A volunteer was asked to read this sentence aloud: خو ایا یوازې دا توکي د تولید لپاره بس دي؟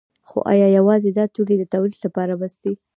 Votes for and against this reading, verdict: 2, 0, accepted